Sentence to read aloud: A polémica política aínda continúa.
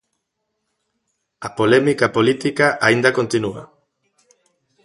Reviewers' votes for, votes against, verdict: 2, 0, accepted